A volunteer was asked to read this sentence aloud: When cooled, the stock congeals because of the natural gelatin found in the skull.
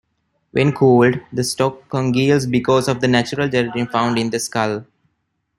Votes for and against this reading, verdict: 0, 2, rejected